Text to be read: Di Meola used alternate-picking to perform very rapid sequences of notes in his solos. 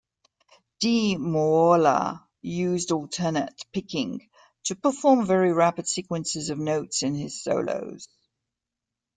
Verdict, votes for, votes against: accepted, 2, 0